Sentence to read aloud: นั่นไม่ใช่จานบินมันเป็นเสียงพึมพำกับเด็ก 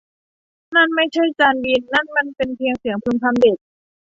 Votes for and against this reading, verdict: 0, 2, rejected